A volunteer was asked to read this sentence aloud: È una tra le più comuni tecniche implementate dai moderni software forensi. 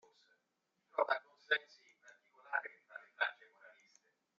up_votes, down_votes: 0, 2